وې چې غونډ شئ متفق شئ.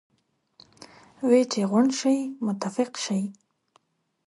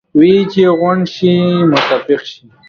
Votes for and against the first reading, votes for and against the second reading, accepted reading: 2, 0, 1, 2, first